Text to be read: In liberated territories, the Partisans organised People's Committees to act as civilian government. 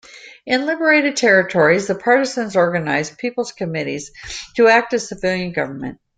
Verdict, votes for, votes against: accepted, 2, 0